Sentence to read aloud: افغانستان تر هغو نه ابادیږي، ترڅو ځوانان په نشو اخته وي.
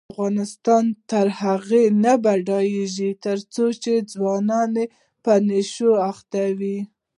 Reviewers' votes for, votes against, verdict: 1, 2, rejected